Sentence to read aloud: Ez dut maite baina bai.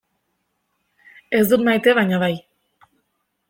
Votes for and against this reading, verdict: 2, 0, accepted